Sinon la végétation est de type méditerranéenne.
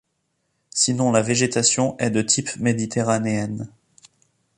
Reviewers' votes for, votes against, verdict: 2, 0, accepted